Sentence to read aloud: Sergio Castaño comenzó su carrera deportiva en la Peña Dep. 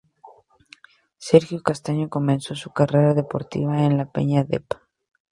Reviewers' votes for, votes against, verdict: 2, 0, accepted